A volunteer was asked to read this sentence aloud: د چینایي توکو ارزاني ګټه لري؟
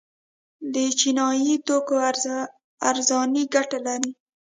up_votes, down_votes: 1, 2